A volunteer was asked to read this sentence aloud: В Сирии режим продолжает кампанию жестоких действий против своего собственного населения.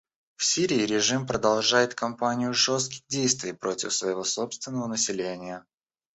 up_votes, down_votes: 1, 2